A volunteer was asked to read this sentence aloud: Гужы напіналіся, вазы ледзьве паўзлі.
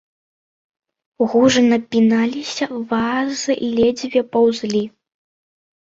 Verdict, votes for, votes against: rejected, 0, 2